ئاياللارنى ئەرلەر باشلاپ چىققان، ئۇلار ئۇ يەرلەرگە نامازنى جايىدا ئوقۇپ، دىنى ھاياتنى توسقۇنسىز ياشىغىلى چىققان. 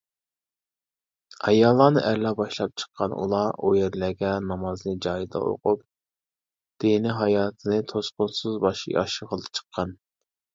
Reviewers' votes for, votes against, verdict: 0, 2, rejected